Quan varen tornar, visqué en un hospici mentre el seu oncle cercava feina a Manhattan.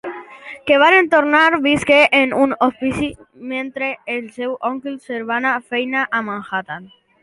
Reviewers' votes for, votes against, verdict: 1, 3, rejected